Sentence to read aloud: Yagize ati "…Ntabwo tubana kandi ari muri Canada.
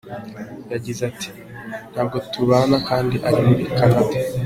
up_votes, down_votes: 2, 0